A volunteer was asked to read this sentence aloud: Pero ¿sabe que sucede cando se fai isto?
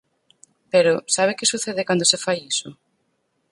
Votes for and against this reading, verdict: 2, 4, rejected